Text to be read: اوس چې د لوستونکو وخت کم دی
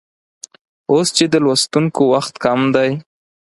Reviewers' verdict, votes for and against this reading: accepted, 6, 0